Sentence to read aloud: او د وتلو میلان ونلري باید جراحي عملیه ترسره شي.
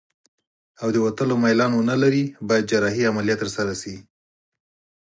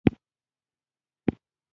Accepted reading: first